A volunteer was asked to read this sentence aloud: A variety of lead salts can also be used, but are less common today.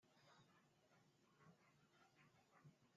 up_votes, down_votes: 0, 2